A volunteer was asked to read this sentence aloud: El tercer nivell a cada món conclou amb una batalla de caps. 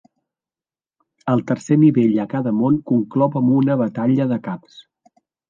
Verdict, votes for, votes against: accepted, 2, 0